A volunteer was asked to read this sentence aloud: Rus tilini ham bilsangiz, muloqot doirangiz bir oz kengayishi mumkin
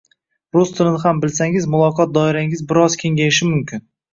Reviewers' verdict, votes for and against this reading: rejected, 1, 2